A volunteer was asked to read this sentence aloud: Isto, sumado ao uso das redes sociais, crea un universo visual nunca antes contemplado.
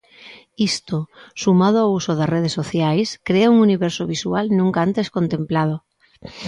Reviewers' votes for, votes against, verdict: 2, 0, accepted